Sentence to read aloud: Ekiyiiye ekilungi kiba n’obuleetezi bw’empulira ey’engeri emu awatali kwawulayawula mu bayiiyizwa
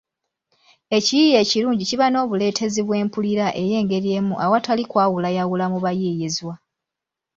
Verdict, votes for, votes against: accepted, 2, 1